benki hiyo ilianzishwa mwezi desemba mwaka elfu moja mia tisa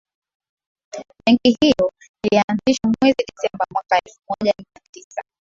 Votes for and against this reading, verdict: 6, 4, accepted